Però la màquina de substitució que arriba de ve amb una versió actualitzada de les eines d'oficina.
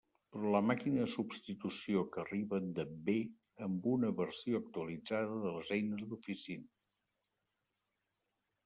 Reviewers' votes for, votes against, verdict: 1, 2, rejected